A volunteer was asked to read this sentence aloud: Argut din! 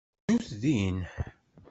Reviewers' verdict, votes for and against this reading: rejected, 0, 2